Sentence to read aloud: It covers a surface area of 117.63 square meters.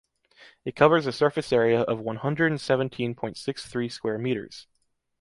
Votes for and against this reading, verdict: 0, 2, rejected